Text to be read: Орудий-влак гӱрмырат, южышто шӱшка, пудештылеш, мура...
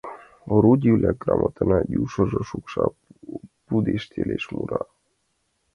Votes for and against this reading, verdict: 2, 1, accepted